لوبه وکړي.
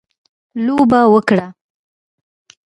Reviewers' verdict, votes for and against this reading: accepted, 2, 0